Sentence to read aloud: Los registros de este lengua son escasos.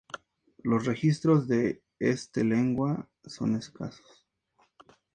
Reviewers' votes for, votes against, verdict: 2, 0, accepted